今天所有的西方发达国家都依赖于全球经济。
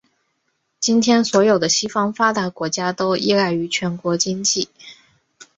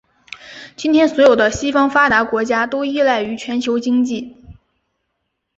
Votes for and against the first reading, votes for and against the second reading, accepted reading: 1, 2, 2, 0, second